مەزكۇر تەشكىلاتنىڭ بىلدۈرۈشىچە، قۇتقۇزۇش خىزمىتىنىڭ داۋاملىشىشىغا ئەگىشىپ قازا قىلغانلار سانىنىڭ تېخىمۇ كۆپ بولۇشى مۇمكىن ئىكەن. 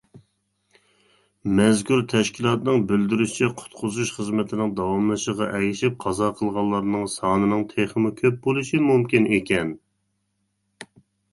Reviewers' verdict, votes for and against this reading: rejected, 1, 2